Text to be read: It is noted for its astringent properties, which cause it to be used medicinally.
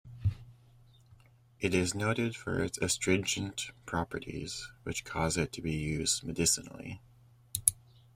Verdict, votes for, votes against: accepted, 2, 0